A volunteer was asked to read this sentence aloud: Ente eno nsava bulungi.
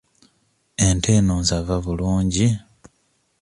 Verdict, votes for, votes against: accepted, 2, 0